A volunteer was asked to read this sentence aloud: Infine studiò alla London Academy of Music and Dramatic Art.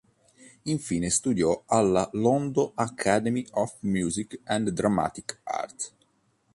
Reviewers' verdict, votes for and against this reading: rejected, 1, 2